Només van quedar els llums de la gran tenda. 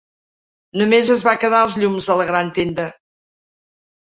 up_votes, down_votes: 0, 3